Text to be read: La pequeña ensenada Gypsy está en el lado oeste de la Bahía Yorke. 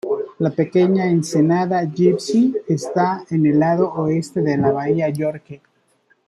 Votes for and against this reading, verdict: 2, 0, accepted